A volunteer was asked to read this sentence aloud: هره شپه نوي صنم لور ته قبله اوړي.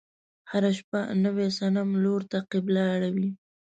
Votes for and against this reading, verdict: 1, 2, rejected